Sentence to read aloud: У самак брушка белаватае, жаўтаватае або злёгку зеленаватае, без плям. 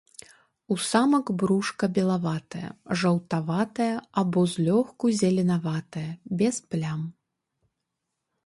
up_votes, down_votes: 2, 3